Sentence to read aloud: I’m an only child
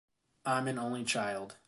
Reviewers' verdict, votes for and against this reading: accepted, 2, 0